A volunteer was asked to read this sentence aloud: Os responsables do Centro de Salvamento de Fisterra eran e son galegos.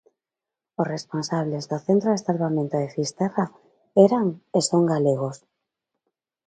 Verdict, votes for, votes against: accepted, 2, 0